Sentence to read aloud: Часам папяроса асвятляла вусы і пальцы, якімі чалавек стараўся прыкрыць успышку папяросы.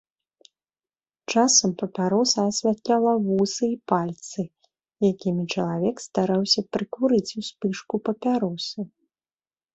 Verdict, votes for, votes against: rejected, 0, 2